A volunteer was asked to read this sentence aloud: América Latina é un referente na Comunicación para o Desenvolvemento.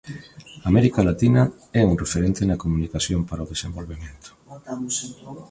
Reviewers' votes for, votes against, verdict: 1, 2, rejected